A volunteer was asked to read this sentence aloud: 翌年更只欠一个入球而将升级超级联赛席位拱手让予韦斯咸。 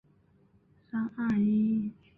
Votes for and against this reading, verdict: 3, 4, rejected